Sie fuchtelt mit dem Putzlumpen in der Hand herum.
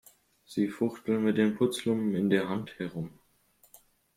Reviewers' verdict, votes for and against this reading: rejected, 0, 2